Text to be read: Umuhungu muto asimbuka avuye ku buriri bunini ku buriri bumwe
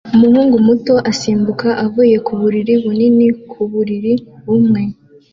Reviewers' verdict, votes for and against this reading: accepted, 2, 0